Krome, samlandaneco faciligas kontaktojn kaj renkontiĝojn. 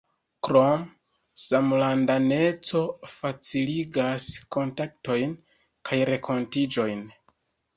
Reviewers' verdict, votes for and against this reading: rejected, 0, 2